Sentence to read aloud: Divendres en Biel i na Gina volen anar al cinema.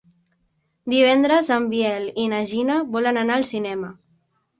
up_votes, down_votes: 3, 0